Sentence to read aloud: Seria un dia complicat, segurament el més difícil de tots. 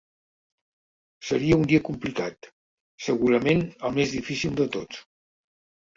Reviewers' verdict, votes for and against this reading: accepted, 2, 0